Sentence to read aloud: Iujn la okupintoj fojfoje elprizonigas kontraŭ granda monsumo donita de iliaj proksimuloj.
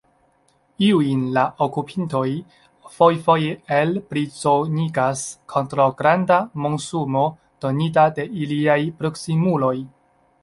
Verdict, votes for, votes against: accepted, 2, 0